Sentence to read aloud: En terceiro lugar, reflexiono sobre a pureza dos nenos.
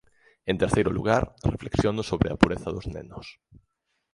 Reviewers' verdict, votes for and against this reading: rejected, 1, 2